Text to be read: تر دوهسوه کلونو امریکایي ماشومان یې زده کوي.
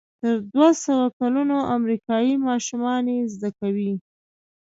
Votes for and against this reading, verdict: 2, 0, accepted